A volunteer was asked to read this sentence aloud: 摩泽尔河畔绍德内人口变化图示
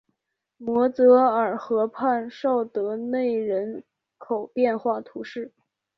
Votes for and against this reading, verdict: 2, 3, rejected